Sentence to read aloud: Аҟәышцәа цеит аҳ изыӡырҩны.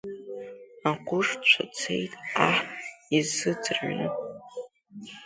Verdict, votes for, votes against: accepted, 2, 0